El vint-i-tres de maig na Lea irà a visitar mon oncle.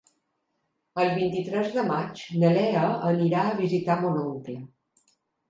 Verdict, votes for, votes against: rejected, 1, 2